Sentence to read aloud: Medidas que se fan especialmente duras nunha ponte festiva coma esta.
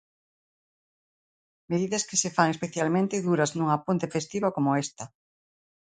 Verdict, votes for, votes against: accepted, 2, 0